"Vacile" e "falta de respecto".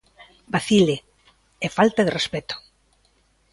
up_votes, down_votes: 2, 0